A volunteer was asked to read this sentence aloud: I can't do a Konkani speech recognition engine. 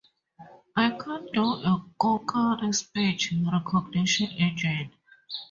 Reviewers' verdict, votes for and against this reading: rejected, 0, 2